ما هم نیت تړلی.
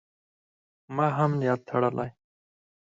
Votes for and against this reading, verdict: 2, 4, rejected